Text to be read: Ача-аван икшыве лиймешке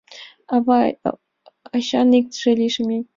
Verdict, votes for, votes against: rejected, 1, 2